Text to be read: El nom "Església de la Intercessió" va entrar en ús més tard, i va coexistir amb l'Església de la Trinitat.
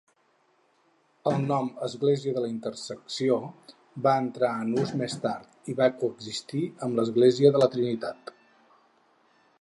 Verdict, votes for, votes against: rejected, 2, 4